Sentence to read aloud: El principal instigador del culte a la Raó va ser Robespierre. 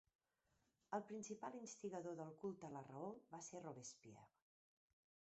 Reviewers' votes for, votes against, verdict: 0, 3, rejected